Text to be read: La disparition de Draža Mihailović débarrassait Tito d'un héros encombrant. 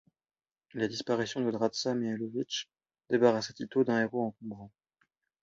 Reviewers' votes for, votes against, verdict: 2, 1, accepted